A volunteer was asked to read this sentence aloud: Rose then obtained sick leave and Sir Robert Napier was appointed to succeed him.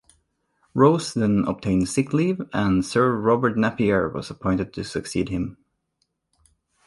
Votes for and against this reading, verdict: 2, 1, accepted